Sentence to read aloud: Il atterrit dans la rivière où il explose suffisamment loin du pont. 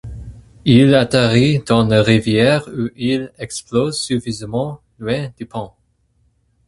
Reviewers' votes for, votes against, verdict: 4, 0, accepted